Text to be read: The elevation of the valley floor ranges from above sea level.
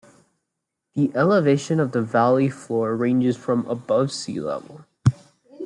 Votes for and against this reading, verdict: 2, 0, accepted